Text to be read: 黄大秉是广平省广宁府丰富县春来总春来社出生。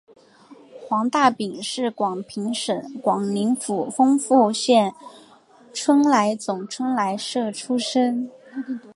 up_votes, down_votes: 3, 0